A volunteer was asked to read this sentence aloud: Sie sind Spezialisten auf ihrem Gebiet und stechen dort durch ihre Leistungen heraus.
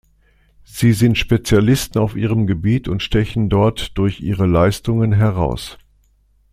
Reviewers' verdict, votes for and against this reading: accepted, 2, 0